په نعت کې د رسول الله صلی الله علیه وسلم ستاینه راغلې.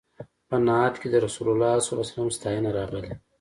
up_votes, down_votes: 2, 0